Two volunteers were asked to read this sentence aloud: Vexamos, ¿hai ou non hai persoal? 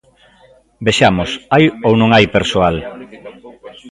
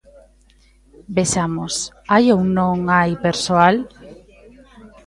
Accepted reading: first